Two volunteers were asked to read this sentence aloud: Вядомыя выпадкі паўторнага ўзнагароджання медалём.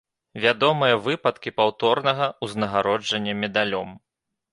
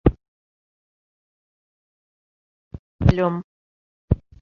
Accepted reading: first